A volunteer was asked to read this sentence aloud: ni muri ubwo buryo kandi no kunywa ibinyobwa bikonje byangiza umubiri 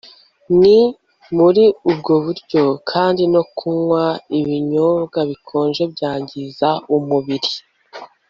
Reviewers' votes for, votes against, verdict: 2, 0, accepted